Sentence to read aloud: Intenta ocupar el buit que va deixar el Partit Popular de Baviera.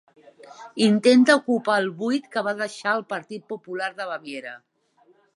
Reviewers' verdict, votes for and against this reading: accepted, 3, 0